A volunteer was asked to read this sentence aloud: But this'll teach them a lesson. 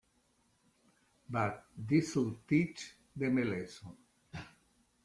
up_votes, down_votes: 2, 1